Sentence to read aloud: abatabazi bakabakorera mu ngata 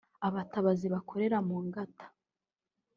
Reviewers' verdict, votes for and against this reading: rejected, 1, 2